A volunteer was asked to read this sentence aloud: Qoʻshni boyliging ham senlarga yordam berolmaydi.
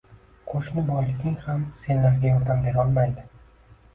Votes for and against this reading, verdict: 2, 1, accepted